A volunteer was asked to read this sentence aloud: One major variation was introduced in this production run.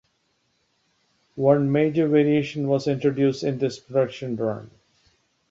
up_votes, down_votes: 2, 0